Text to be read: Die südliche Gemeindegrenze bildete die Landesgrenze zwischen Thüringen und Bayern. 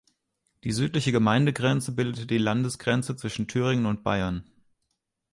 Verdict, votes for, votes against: accepted, 2, 0